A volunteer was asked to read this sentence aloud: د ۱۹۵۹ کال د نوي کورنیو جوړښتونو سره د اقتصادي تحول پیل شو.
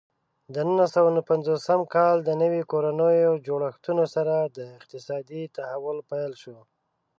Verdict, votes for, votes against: rejected, 0, 2